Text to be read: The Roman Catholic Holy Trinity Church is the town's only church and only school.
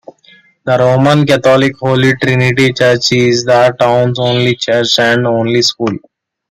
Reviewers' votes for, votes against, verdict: 2, 0, accepted